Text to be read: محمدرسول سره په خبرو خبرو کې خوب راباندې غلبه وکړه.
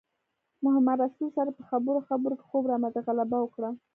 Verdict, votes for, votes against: accepted, 2, 0